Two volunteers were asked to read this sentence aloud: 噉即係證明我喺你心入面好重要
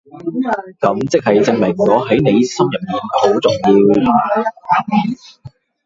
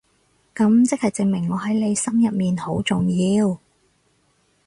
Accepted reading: second